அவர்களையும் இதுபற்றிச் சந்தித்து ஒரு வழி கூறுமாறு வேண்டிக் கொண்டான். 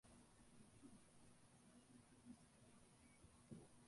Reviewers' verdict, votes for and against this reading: rejected, 0, 2